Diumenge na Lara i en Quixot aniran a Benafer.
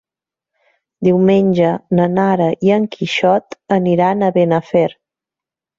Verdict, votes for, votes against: rejected, 1, 2